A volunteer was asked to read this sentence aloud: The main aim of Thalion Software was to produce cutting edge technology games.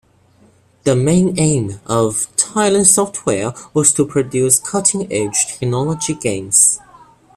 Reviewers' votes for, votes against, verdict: 1, 2, rejected